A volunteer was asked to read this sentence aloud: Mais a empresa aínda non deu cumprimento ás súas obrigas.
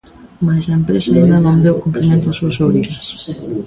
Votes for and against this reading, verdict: 2, 1, accepted